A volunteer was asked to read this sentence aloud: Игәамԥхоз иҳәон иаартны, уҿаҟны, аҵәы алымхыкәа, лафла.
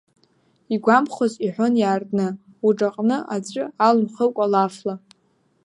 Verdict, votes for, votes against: accepted, 2, 0